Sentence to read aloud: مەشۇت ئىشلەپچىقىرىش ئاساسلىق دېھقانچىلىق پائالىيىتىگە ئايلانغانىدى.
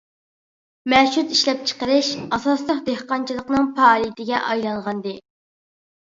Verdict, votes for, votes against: rejected, 0, 2